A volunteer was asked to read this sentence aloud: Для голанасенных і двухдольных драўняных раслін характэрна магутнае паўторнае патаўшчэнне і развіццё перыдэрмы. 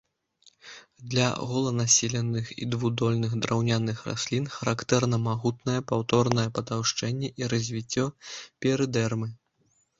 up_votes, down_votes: 1, 2